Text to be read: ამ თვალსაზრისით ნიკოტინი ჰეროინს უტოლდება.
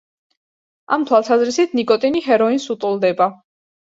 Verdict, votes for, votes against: accepted, 2, 0